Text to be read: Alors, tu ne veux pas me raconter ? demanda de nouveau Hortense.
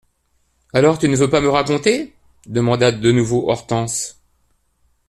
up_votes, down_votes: 2, 0